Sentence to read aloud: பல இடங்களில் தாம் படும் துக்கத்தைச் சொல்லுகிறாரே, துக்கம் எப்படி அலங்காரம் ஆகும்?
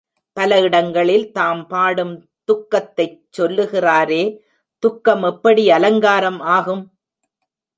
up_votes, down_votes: 1, 2